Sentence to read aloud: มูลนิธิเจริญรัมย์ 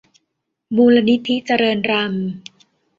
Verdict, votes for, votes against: accepted, 2, 0